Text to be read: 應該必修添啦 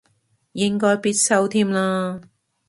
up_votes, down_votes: 2, 0